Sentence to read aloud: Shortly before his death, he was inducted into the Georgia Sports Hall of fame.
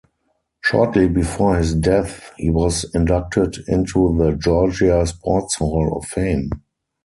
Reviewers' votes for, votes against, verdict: 2, 2, rejected